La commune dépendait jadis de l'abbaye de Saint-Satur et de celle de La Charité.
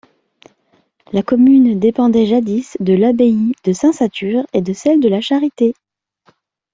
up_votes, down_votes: 2, 0